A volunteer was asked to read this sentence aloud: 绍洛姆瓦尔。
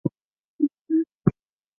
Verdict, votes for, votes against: rejected, 0, 2